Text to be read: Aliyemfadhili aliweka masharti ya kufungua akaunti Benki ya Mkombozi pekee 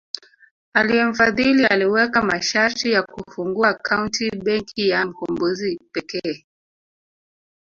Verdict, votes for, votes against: rejected, 0, 2